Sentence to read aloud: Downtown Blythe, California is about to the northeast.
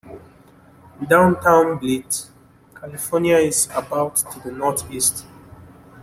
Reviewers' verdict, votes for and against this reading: accepted, 2, 0